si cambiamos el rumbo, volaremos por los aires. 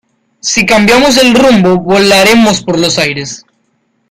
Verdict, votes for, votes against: accepted, 2, 1